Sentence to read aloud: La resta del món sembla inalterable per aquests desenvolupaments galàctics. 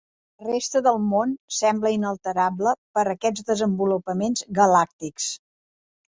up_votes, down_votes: 1, 2